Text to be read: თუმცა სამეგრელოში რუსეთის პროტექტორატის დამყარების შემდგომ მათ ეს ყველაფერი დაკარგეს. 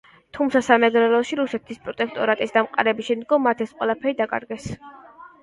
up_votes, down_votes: 2, 0